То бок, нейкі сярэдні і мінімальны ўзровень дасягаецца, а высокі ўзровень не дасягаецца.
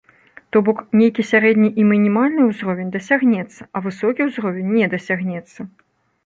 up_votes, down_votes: 0, 2